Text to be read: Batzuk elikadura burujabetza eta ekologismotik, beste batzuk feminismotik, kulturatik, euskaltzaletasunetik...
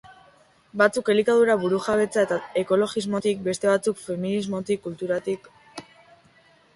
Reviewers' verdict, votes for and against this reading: rejected, 1, 2